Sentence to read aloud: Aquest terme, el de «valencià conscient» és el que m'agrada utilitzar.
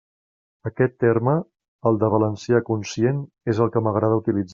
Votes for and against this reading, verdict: 3, 1, accepted